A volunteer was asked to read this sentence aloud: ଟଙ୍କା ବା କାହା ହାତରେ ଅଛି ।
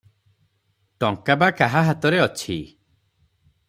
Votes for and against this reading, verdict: 3, 0, accepted